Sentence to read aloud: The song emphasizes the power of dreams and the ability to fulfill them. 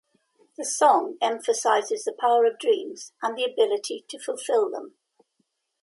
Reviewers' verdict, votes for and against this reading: accepted, 2, 0